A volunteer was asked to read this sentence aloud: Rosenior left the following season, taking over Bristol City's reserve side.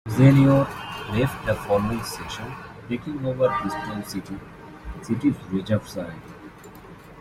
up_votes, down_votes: 0, 2